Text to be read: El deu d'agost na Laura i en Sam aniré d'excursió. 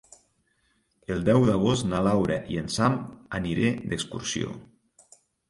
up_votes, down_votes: 3, 0